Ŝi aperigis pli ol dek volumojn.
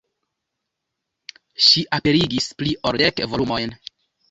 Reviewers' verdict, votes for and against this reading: rejected, 1, 2